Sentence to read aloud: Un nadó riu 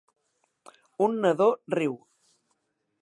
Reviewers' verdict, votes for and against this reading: accepted, 3, 0